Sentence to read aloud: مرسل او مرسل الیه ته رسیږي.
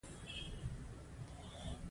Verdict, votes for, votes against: rejected, 1, 2